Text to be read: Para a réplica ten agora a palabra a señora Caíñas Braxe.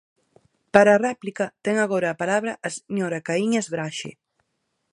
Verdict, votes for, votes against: rejected, 2, 4